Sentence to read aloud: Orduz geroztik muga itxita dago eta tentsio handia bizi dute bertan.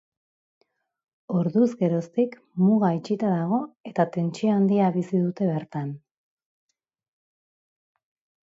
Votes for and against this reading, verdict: 2, 0, accepted